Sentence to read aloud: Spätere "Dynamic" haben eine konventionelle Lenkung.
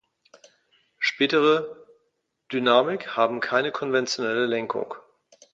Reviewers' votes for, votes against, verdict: 0, 2, rejected